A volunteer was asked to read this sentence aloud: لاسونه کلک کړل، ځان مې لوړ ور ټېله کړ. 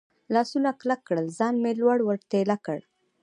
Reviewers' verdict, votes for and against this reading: rejected, 0, 2